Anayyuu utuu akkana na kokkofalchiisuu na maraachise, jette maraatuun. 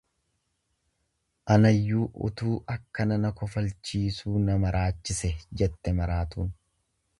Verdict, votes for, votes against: rejected, 1, 2